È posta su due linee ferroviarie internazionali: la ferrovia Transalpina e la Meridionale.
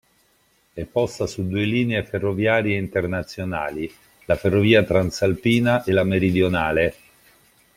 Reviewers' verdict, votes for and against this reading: accepted, 2, 0